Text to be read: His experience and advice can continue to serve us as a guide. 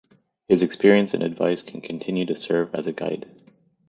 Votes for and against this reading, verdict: 0, 2, rejected